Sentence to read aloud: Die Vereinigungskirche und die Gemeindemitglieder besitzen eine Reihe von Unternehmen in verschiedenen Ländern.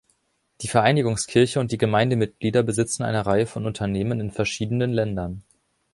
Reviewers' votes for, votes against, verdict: 2, 0, accepted